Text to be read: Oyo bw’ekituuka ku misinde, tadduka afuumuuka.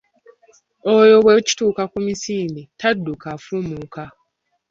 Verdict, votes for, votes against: accepted, 2, 1